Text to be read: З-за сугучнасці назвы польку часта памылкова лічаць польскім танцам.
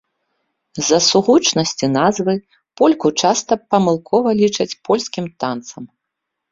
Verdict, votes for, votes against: accepted, 2, 0